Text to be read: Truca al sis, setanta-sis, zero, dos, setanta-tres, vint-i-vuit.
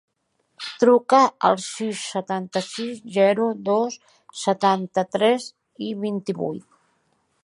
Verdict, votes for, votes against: accepted, 2, 1